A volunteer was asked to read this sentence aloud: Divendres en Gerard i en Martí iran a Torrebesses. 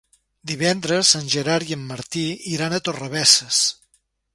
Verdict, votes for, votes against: accepted, 3, 0